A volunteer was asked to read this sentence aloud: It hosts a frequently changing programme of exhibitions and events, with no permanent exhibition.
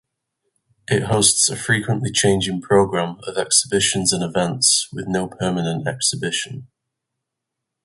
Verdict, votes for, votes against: accepted, 4, 0